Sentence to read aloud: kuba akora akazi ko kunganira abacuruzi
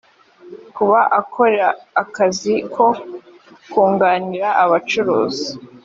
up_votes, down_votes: 3, 0